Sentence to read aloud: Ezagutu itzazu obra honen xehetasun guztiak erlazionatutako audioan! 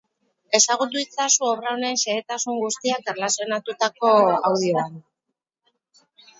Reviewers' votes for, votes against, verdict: 0, 4, rejected